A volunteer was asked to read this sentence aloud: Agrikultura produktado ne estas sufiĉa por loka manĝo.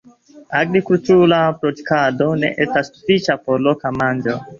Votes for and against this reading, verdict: 1, 2, rejected